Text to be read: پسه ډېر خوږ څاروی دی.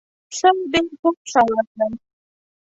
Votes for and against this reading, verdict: 0, 2, rejected